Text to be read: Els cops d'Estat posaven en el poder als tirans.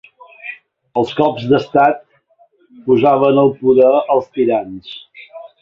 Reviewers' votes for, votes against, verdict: 0, 2, rejected